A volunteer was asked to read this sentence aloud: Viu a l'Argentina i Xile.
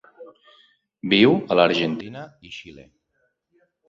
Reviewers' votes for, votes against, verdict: 3, 0, accepted